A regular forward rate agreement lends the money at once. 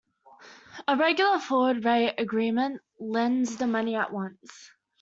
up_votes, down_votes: 2, 0